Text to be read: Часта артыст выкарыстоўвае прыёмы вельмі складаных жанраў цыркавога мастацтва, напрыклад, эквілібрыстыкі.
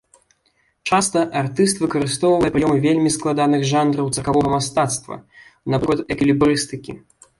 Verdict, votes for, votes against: rejected, 1, 2